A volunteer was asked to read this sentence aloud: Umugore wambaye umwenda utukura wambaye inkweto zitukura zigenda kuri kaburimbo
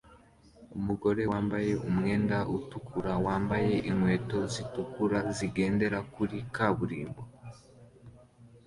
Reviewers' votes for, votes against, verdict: 2, 1, accepted